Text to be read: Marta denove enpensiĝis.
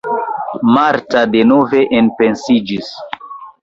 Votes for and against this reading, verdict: 2, 1, accepted